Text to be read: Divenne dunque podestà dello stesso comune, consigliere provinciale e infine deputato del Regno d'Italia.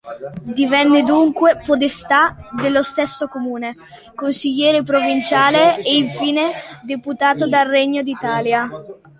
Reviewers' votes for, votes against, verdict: 1, 2, rejected